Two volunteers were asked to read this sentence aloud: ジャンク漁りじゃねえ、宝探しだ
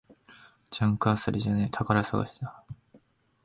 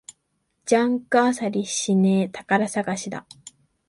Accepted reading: first